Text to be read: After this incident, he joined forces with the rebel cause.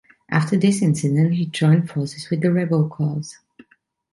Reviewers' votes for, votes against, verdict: 2, 1, accepted